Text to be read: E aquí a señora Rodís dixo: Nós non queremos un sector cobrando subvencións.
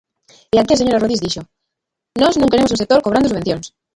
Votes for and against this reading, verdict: 0, 2, rejected